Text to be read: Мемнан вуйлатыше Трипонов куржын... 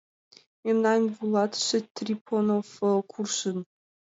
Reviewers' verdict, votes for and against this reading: accepted, 2, 1